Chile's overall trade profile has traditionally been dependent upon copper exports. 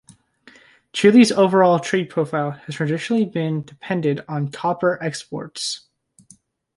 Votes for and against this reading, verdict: 1, 2, rejected